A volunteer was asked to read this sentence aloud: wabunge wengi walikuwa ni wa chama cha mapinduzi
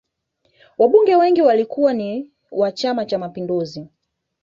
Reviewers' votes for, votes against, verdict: 2, 0, accepted